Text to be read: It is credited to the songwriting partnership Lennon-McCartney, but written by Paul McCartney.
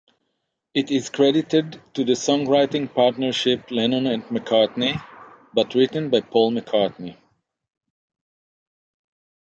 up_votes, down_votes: 3, 6